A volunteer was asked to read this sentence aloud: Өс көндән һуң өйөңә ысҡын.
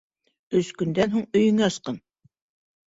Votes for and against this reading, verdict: 3, 1, accepted